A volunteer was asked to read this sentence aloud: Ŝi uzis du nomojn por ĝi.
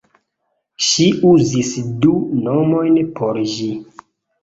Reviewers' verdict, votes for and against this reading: accepted, 2, 0